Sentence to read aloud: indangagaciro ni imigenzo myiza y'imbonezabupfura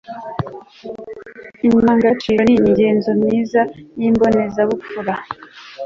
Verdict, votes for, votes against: accepted, 2, 0